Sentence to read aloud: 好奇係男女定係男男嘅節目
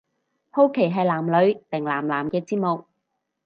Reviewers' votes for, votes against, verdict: 0, 2, rejected